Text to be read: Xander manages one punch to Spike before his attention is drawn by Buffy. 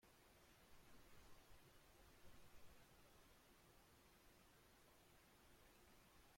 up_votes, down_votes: 0, 2